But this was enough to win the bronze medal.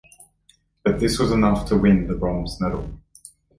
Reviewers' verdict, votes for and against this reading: accepted, 2, 0